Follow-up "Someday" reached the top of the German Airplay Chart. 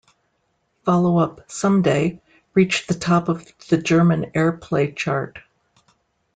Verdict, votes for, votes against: accepted, 2, 0